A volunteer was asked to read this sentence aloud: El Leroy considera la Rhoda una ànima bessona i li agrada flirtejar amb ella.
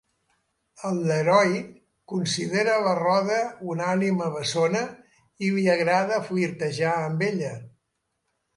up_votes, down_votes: 2, 0